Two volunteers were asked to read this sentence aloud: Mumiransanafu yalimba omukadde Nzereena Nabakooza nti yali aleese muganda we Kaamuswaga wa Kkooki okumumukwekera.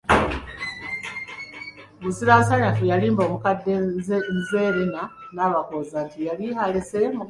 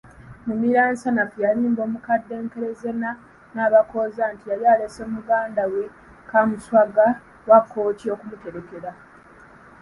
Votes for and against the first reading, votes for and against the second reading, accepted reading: 0, 2, 2, 1, second